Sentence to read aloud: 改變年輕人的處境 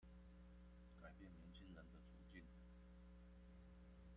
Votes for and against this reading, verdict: 0, 2, rejected